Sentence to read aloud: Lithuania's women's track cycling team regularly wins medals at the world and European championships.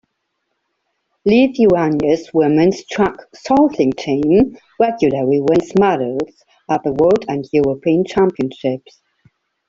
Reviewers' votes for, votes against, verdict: 2, 1, accepted